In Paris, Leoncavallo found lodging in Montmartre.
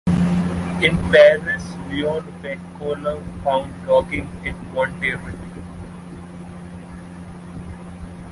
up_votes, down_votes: 1, 2